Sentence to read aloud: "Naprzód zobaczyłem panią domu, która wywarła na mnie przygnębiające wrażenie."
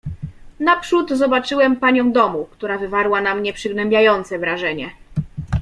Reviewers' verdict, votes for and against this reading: accepted, 2, 0